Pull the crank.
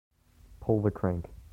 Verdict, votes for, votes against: accepted, 2, 0